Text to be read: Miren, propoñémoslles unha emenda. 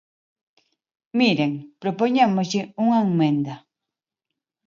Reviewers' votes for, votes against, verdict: 1, 2, rejected